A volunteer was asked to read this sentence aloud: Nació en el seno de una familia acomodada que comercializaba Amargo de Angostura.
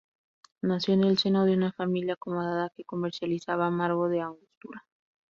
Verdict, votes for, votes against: rejected, 0, 2